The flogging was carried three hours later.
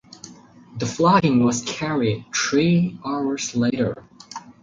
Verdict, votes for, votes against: rejected, 0, 2